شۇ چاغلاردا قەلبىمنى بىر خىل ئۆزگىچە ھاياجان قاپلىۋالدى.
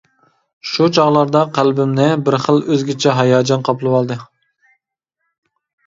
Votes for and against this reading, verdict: 2, 0, accepted